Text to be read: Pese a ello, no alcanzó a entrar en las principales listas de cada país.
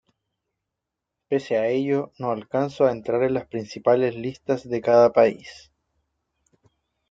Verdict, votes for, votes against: rejected, 1, 2